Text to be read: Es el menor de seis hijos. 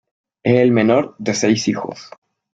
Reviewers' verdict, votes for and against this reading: accepted, 2, 1